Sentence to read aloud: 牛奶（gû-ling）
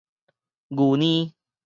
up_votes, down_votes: 2, 2